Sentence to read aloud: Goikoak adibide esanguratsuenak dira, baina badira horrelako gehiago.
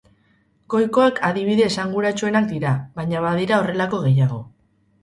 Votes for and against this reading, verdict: 2, 0, accepted